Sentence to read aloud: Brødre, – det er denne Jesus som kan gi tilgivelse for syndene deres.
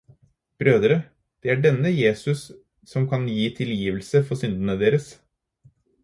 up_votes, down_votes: 4, 0